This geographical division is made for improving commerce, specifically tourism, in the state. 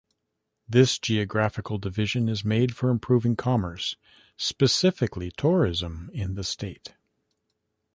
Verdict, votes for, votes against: accepted, 2, 0